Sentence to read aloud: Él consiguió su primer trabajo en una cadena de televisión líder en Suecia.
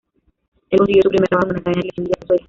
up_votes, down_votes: 1, 2